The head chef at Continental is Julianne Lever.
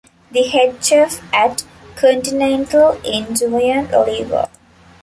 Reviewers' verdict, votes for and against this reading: rejected, 0, 2